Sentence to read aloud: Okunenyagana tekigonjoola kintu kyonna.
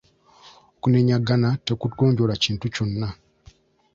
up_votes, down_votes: 0, 2